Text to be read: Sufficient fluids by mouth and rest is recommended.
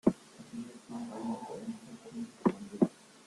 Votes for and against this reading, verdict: 0, 2, rejected